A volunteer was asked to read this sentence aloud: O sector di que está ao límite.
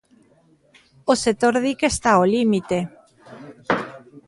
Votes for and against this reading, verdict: 2, 0, accepted